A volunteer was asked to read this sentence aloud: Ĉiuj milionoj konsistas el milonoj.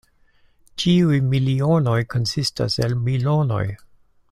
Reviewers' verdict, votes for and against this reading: accepted, 2, 0